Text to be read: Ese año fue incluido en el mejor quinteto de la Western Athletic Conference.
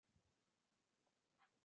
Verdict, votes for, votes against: rejected, 0, 2